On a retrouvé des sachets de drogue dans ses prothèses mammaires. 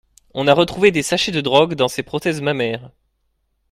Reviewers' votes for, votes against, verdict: 2, 0, accepted